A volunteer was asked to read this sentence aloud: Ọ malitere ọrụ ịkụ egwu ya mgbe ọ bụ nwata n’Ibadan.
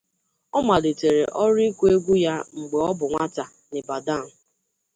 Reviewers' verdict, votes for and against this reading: accepted, 2, 0